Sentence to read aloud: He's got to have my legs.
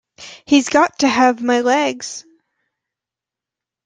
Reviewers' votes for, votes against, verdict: 2, 0, accepted